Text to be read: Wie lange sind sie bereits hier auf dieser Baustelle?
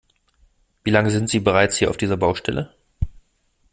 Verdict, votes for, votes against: accepted, 2, 0